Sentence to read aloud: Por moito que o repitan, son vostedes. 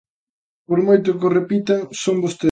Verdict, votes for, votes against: rejected, 0, 2